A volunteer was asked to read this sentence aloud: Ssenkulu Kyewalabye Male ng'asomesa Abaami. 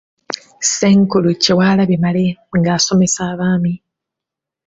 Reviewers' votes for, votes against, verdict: 2, 0, accepted